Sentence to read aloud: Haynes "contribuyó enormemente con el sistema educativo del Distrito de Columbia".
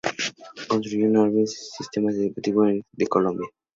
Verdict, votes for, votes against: rejected, 0, 2